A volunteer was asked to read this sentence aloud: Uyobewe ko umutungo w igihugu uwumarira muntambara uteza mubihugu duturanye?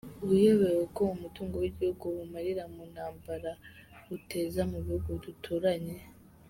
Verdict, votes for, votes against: accepted, 2, 0